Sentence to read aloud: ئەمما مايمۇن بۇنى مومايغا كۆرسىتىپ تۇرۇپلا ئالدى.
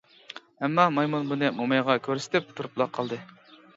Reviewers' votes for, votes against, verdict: 1, 2, rejected